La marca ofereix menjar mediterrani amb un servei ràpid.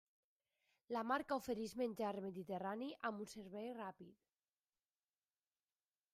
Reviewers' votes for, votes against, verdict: 0, 2, rejected